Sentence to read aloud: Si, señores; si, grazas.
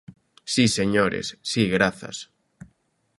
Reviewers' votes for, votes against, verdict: 2, 0, accepted